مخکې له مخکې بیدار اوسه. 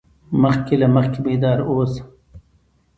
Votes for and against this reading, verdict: 2, 0, accepted